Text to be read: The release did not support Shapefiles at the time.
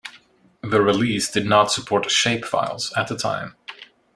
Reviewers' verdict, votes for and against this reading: accepted, 2, 0